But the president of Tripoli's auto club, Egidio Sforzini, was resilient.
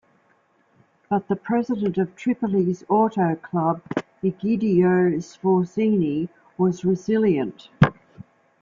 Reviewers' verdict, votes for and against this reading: accepted, 2, 0